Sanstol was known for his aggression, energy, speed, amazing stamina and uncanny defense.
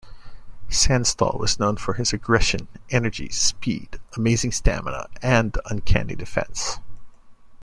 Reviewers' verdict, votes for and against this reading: accepted, 2, 0